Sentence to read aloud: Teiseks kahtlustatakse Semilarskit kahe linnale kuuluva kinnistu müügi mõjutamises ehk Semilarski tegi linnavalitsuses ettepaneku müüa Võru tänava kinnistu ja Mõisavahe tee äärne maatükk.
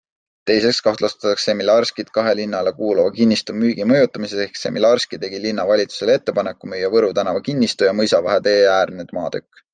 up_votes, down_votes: 2, 0